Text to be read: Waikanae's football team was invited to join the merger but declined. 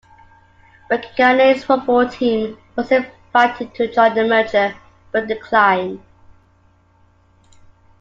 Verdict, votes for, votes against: accepted, 3, 0